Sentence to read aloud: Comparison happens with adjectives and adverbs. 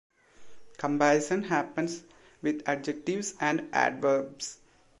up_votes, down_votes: 2, 0